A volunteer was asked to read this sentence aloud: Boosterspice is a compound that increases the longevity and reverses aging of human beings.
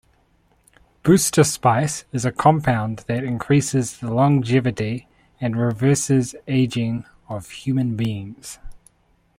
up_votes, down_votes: 2, 0